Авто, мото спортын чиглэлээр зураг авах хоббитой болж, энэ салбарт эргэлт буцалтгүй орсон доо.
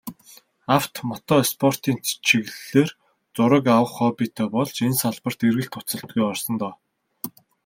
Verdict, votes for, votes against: rejected, 1, 2